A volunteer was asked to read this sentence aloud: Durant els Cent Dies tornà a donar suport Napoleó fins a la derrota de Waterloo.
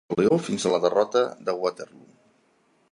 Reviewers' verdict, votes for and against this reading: rejected, 0, 2